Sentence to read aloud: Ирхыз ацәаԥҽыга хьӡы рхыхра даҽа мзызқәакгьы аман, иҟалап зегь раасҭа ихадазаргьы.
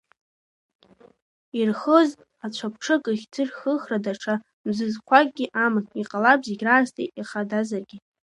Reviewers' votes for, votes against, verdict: 0, 2, rejected